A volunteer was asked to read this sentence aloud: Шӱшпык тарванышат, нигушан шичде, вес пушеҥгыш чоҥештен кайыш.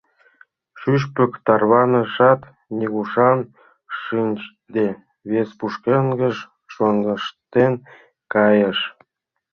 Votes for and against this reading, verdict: 1, 2, rejected